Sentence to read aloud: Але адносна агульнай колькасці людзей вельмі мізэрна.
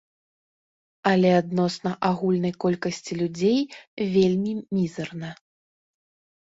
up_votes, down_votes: 0, 4